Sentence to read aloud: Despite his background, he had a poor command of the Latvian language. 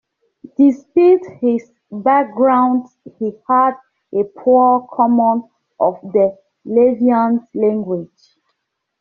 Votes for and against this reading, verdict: 1, 2, rejected